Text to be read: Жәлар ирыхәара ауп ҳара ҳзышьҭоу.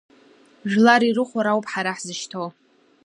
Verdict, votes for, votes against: accepted, 2, 0